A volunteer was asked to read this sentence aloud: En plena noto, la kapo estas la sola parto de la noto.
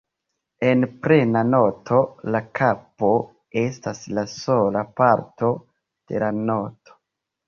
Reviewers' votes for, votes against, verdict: 0, 2, rejected